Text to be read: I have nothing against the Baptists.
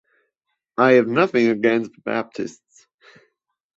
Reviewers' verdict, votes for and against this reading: rejected, 0, 2